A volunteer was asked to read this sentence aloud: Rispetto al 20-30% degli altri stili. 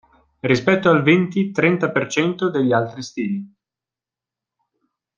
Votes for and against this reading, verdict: 0, 2, rejected